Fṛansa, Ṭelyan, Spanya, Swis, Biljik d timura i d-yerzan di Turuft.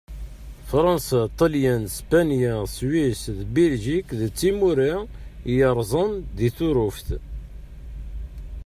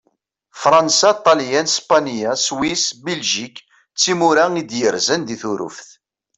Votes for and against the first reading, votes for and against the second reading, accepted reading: 0, 2, 2, 0, second